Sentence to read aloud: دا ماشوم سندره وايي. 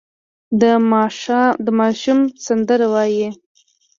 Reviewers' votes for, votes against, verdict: 2, 0, accepted